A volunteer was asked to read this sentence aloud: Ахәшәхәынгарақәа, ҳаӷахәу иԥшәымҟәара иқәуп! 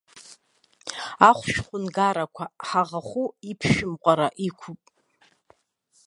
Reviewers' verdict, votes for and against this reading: rejected, 0, 2